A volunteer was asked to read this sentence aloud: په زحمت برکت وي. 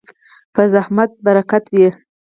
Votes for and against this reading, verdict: 0, 4, rejected